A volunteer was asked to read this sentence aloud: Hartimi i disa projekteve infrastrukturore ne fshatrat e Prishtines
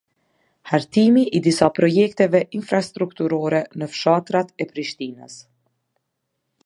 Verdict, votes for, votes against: accepted, 2, 0